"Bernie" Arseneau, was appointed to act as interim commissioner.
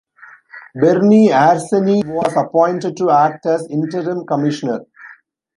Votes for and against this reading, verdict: 1, 2, rejected